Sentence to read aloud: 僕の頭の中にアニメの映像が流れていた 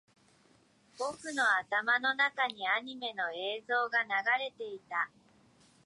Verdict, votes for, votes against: rejected, 0, 2